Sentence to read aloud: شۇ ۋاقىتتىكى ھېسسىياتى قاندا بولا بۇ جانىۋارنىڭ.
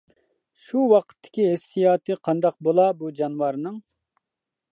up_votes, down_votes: 2, 1